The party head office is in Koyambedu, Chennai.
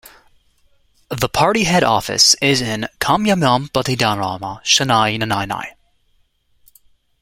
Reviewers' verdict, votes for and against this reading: rejected, 1, 2